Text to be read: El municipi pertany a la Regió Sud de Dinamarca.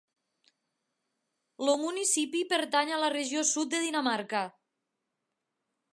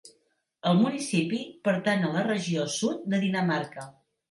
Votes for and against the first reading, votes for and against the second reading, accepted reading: 1, 2, 2, 0, second